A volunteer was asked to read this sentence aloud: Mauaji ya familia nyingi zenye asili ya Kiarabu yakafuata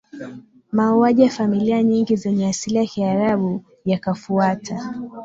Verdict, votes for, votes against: accepted, 7, 2